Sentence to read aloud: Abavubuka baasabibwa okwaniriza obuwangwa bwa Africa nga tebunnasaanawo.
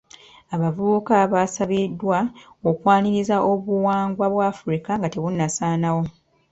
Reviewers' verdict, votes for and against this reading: accepted, 2, 0